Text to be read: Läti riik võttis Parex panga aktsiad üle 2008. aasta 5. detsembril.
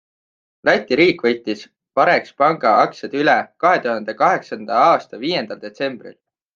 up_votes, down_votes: 0, 2